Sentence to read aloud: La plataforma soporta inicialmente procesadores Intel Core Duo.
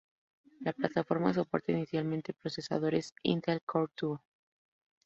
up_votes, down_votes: 0, 2